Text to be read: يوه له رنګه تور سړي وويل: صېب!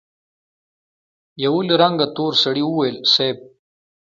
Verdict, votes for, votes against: accepted, 2, 0